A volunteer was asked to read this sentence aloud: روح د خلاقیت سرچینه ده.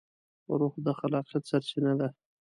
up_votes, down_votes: 2, 0